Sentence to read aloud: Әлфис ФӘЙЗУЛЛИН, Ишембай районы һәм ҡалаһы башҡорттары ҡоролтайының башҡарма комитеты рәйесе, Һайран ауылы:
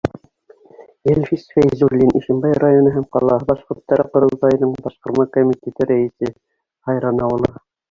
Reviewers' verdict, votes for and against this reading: accepted, 2, 1